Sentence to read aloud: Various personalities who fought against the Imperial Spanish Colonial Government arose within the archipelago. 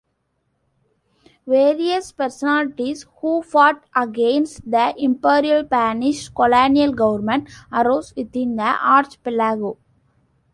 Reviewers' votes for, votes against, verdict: 2, 1, accepted